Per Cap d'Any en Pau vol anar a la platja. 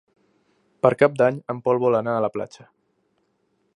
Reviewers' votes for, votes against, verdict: 0, 2, rejected